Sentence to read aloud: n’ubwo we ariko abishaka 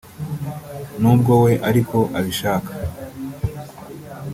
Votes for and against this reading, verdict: 2, 0, accepted